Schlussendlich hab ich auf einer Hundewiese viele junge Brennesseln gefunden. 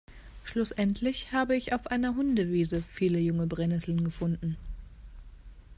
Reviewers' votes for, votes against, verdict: 2, 0, accepted